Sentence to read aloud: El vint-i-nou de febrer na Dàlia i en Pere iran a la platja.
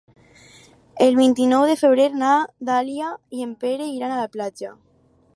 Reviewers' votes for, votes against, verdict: 4, 0, accepted